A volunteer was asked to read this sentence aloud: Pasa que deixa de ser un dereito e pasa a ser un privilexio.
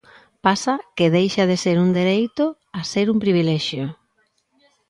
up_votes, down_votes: 0, 4